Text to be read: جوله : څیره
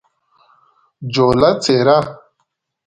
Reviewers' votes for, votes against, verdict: 2, 0, accepted